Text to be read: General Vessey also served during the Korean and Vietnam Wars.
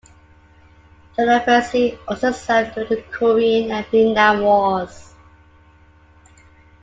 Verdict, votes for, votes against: rejected, 0, 2